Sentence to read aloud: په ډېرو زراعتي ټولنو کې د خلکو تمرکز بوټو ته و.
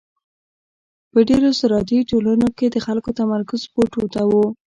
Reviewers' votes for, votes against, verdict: 1, 2, rejected